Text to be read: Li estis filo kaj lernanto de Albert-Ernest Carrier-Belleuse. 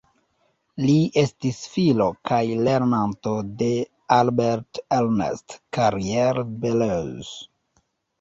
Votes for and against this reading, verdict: 2, 0, accepted